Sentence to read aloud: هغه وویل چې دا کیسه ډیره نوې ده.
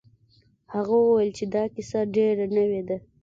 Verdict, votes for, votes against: accepted, 2, 0